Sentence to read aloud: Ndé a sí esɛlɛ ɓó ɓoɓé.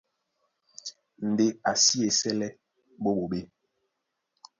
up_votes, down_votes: 1, 2